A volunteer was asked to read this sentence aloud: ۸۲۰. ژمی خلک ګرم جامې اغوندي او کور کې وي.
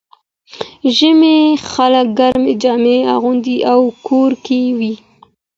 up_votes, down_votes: 0, 2